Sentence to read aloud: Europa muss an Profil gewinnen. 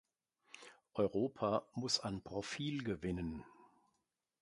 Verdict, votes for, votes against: accepted, 2, 0